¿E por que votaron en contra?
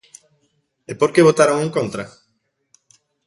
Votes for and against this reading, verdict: 2, 0, accepted